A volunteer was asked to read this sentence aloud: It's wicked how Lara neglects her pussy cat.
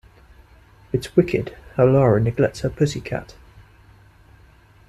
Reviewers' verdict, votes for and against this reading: rejected, 0, 2